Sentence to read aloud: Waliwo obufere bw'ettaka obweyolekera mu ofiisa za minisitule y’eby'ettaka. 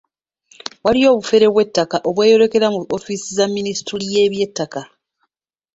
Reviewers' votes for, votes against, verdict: 0, 2, rejected